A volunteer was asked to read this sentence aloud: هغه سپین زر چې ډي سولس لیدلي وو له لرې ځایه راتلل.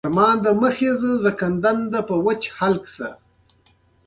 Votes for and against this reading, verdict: 0, 2, rejected